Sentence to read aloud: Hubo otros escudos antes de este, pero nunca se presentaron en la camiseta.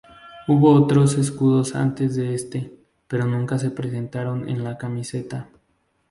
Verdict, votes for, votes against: accepted, 2, 0